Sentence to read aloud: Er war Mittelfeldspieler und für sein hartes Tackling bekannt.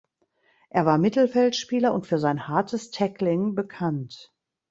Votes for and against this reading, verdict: 2, 0, accepted